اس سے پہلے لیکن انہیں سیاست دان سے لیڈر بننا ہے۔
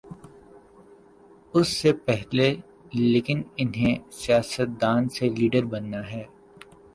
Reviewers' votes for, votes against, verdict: 1, 2, rejected